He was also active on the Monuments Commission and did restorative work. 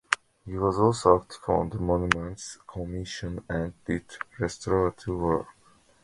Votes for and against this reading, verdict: 0, 2, rejected